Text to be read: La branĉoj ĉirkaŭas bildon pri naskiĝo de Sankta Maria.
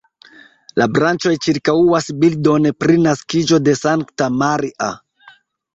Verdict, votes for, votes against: accepted, 2, 1